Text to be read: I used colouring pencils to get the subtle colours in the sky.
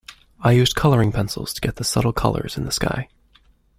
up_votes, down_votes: 2, 0